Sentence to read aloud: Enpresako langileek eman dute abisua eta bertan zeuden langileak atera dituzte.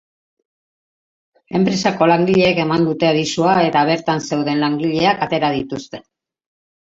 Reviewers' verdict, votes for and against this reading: accepted, 4, 0